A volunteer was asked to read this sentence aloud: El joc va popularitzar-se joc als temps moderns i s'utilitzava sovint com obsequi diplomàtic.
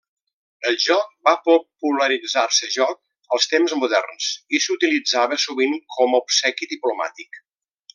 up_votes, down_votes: 1, 2